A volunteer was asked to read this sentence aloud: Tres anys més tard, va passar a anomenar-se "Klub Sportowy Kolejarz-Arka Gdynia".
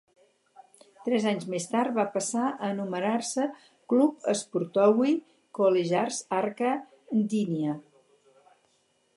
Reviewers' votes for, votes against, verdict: 2, 0, accepted